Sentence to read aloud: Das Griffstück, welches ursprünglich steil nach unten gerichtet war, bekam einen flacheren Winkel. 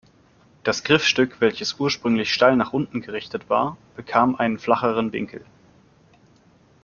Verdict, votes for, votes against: accepted, 2, 0